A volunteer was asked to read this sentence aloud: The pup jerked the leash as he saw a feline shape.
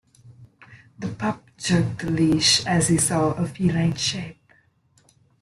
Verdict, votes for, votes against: accepted, 2, 1